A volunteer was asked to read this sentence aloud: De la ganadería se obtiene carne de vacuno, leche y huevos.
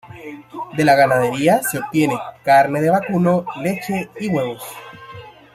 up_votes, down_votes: 1, 2